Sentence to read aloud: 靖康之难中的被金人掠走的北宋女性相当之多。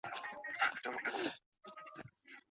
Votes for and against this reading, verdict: 0, 2, rejected